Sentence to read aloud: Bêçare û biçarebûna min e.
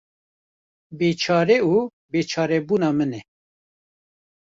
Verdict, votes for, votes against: rejected, 1, 2